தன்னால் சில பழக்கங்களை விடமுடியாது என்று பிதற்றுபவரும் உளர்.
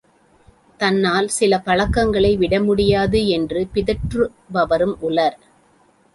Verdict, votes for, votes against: accepted, 2, 0